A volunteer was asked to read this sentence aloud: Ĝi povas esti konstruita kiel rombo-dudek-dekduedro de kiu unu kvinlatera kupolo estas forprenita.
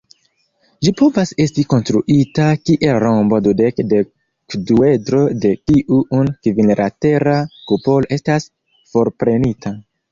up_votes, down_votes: 2, 3